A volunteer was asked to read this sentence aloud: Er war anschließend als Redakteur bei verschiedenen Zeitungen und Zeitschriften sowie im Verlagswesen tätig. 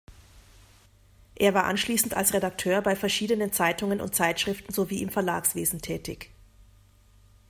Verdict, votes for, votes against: accepted, 2, 0